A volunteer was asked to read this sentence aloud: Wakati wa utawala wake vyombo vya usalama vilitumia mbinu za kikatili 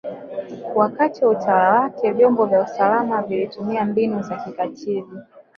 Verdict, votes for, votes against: rejected, 2, 4